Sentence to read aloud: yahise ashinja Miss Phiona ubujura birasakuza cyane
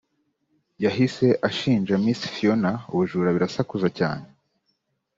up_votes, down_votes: 2, 0